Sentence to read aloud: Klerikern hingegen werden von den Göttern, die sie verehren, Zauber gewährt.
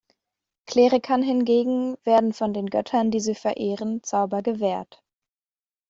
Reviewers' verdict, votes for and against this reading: accepted, 2, 0